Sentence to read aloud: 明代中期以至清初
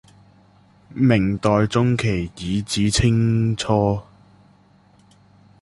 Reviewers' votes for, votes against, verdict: 0, 2, rejected